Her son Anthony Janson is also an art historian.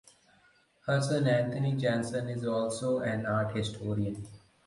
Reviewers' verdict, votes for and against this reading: accepted, 4, 0